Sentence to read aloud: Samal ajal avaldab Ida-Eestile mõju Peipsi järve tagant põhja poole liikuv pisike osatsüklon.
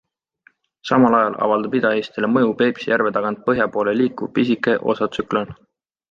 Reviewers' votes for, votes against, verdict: 2, 0, accepted